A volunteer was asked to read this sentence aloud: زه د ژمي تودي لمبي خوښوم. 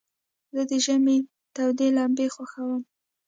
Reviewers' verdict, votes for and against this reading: accepted, 2, 0